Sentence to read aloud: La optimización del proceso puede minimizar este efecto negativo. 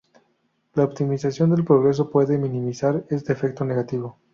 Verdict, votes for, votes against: accepted, 2, 0